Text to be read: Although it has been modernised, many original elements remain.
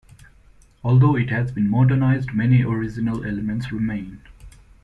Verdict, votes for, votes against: accepted, 2, 0